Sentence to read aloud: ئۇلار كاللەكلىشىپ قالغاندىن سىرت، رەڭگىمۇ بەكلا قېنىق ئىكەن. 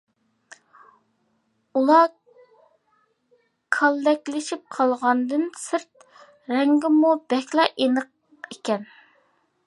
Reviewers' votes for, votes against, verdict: 2, 0, accepted